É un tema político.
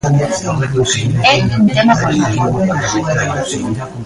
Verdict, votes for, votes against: rejected, 1, 2